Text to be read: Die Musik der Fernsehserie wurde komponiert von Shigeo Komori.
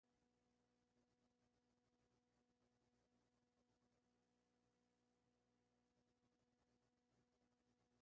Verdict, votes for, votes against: rejected, 0, 2